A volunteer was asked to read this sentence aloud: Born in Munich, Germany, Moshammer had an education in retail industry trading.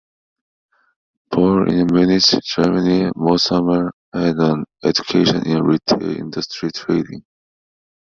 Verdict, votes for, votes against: rejected, 0, 2